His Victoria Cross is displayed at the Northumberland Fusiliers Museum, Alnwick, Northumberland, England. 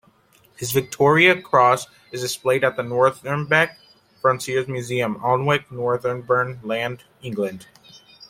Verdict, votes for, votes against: rejected, 1, 2